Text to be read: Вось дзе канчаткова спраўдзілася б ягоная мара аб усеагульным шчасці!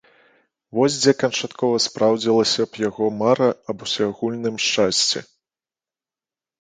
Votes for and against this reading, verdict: 0, 2, rejected